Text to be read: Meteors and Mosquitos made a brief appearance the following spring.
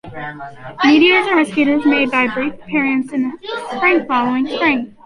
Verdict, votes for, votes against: rejected, 0, 2